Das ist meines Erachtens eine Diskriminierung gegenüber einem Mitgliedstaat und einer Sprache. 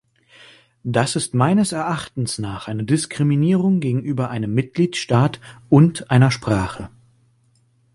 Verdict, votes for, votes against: rejected, 1, 2